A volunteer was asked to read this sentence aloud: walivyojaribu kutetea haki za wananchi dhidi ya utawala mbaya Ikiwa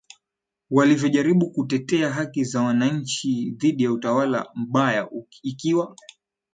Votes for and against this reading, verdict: 10, 1, accepted